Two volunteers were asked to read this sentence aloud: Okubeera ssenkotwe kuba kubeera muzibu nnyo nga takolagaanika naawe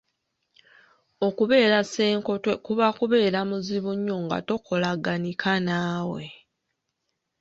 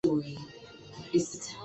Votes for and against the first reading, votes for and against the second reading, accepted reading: 2, 0, 1, 2, first